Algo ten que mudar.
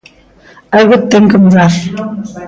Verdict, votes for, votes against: accepted, 2, 0